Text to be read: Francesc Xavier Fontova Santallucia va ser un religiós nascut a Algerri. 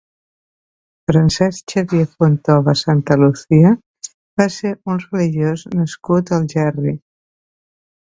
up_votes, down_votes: 2, 1